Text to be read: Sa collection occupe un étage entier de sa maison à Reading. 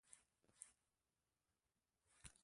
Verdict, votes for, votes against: rejected, 0, 2